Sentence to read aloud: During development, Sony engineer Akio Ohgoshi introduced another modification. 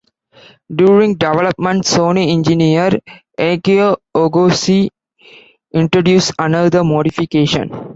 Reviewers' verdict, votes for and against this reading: accepted, 2, 0